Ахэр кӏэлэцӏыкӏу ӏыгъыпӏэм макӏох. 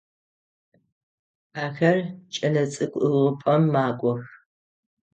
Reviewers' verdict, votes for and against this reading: accepted, 6, 0